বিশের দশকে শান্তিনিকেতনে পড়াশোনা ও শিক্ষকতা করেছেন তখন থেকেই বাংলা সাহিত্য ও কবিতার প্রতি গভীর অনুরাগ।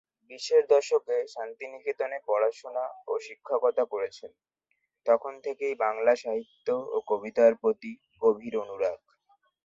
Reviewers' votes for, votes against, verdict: 2, 0, accepted